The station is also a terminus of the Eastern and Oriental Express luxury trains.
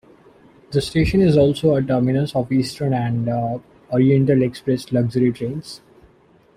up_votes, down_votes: 2, 1